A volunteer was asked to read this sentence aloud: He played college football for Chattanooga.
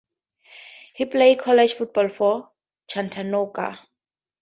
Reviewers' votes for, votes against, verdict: 4, 2, accepted